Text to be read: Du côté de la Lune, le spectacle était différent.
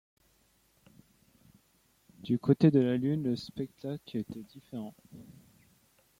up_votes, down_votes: 1, 2